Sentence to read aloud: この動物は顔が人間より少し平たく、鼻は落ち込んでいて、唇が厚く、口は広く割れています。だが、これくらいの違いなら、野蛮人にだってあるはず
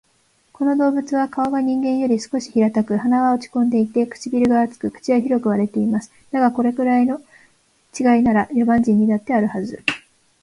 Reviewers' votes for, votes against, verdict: 1, 2, rejected